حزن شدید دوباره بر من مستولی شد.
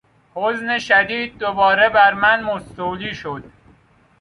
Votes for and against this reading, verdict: 2, 0, accepted